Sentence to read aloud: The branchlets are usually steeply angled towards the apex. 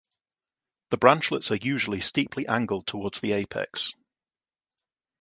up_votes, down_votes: 2, 0